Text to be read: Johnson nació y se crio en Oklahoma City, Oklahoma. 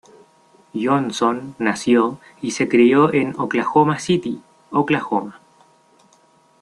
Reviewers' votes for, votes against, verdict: 2, 0, accepted